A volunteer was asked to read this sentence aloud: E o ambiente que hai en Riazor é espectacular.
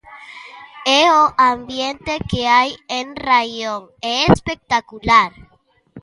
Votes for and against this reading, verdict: 0, 2, rejected